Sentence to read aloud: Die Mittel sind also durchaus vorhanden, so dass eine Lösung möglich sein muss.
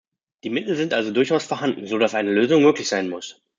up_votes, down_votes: 2, 0